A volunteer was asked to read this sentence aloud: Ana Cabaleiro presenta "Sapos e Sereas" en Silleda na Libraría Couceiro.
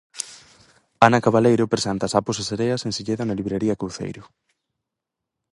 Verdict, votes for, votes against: rejected, 0, 4